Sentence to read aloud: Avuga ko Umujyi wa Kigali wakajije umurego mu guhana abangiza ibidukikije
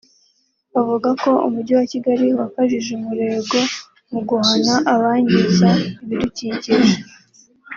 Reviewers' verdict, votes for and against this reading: accepted, 2, 0